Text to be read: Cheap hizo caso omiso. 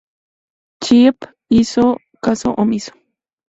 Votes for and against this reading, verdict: 2, 0, accepted